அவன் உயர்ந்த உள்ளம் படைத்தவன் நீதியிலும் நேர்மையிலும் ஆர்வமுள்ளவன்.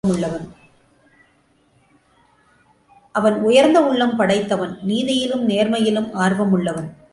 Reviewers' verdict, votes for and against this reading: rejected, 0, 2